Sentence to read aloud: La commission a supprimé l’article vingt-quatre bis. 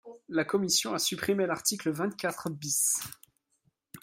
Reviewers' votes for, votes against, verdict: 2, 0, accepted